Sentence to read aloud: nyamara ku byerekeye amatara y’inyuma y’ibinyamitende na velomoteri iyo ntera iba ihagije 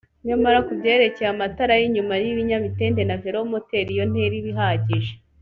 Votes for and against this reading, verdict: 2, 0, accepted